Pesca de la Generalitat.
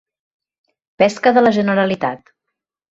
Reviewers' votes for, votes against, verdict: 4, 0, accepted